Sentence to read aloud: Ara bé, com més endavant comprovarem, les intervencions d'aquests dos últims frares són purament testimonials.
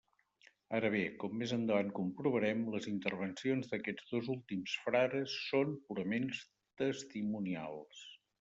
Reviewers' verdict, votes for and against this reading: rejected, 1, 2